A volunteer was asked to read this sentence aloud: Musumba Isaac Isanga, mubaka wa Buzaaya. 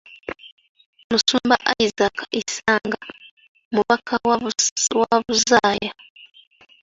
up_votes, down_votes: 2, 0